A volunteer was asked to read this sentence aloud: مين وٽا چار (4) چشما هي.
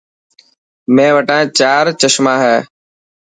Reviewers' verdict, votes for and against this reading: rejected, 0, 2